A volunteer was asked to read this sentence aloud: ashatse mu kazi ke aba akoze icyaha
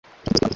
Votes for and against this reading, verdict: 0, 2, rejected